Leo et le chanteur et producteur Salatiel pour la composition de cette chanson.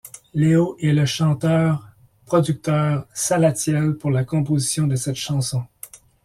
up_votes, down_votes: 1, 2